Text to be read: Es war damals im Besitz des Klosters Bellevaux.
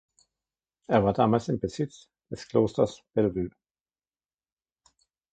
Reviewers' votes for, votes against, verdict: 1, 2, rejected